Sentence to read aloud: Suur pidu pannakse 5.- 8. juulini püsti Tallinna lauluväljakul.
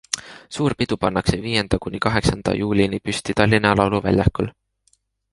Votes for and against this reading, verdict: 0, 2, rejected